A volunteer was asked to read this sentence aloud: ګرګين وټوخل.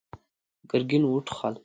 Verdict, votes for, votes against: accepted, 2, 0